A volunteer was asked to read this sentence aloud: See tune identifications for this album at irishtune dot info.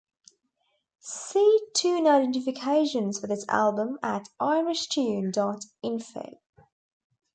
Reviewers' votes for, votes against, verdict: 2, 0, accepted